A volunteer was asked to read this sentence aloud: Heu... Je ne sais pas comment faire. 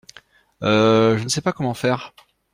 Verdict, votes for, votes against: accepted, 2, 0